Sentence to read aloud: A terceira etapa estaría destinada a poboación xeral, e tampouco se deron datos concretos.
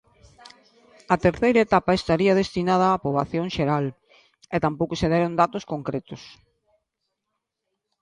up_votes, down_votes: 2, 0